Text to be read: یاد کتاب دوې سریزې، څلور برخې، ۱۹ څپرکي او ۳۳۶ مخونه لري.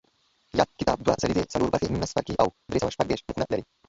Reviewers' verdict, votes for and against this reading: rejected, 0, 2